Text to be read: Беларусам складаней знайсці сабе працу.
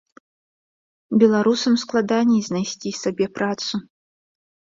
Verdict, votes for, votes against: accepted, 2, 0